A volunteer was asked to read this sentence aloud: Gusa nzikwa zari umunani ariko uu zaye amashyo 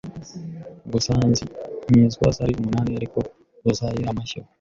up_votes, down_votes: 0, 2